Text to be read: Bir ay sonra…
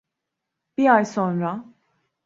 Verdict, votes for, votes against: rejected, 1, 2